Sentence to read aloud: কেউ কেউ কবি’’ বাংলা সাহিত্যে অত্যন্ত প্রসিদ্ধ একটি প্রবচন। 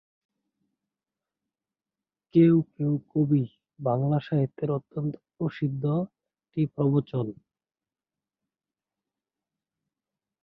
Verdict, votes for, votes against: rejected, 3, 5